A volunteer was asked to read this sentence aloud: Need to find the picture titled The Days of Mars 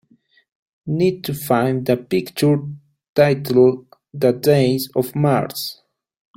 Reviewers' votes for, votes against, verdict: 2, 0, accepted